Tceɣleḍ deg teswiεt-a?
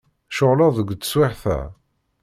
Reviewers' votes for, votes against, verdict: 2, 0, accepted